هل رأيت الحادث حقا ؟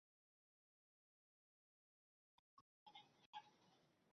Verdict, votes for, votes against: rejected, 1, 2